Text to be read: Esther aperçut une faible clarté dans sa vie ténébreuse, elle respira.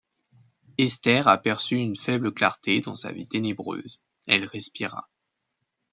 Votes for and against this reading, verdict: 2, 0, accepted